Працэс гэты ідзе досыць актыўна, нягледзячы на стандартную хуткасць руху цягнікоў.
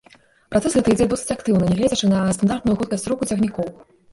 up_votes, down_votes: 0, 2